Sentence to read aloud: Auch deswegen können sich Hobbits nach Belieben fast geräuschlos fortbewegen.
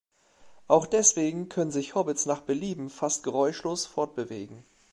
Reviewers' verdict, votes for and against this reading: rejected, 0, 2